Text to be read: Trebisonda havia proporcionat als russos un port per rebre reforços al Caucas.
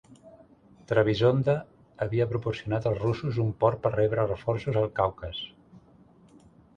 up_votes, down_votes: 2, 0